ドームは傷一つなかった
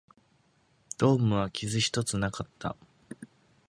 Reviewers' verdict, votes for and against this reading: accepted, 2, 0